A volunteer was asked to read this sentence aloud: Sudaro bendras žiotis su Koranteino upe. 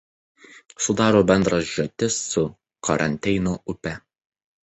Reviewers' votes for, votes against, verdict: 0, 2, rejected